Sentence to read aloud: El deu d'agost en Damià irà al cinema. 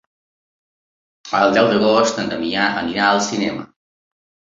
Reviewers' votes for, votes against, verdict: 1, 2, rejected